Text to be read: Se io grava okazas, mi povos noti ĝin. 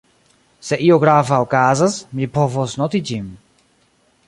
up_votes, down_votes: 2, 0